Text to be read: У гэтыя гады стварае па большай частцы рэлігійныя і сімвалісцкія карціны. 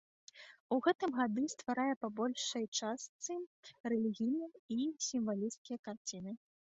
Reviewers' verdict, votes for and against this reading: rejected, 1, 2